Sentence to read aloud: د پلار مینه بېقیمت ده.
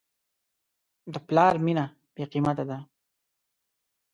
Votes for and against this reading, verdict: 1, 2, rejected